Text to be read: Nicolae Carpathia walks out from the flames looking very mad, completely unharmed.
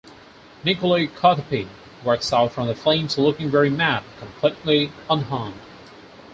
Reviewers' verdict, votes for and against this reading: accepted, 4, 0